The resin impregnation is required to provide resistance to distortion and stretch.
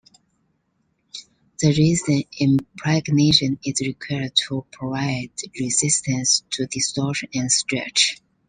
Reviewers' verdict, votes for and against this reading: accepted, 3, 1